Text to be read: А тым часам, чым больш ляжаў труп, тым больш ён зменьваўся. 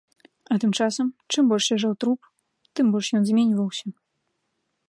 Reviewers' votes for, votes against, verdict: 2, 0, accepted